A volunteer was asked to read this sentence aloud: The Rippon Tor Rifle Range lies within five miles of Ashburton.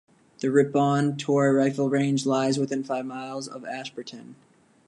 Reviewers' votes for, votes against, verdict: 2, 0, accepted